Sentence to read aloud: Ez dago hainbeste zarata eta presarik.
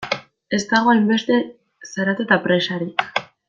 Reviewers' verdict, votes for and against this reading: accepted, 2, 0